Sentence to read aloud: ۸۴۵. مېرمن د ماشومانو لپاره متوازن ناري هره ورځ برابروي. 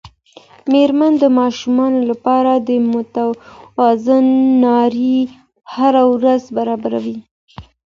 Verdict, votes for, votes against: rejected, 0, 2